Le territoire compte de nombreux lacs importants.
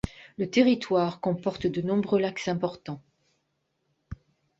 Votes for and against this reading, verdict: 1, 2, rejected